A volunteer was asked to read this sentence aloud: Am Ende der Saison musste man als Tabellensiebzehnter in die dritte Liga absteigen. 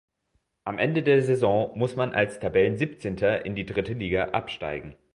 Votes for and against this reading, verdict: 2, 0, accepted